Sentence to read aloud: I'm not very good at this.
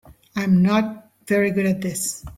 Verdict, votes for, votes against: rejected, 1, 2